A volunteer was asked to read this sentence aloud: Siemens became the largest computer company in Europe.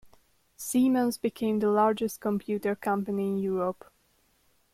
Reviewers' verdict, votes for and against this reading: rejected, 1, 2